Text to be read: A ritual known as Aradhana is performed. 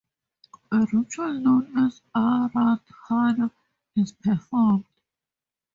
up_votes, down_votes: 0, 2